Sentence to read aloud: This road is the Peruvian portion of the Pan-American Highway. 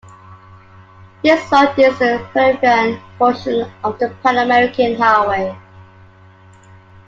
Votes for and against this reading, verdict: 2, 1, accepted